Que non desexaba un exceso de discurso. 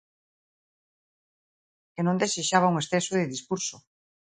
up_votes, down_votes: 2, 1